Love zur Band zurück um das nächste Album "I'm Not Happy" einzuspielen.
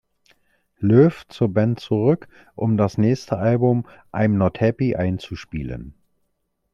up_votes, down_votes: 0, 2